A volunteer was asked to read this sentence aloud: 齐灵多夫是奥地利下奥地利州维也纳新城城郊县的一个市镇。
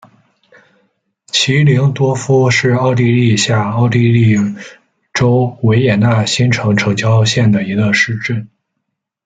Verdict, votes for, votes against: accepted, 2, 0